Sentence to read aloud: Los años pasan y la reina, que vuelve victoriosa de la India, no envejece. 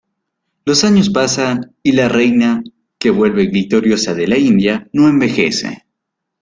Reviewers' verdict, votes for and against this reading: accepted, 2, 0